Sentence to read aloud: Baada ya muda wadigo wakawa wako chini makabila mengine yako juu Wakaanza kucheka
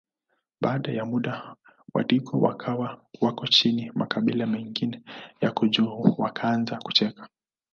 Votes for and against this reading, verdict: 2, 0, accepted